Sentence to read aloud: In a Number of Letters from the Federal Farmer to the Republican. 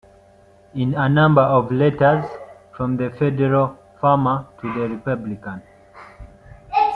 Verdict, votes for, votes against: accepted, 2, 0